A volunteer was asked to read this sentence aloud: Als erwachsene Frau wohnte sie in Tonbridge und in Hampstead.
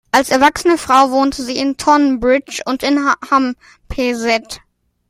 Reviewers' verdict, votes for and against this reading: rejected, 0, 2